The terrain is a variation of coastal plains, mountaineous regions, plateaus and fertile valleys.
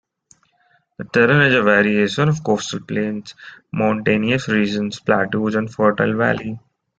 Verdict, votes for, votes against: rejected, 1, 2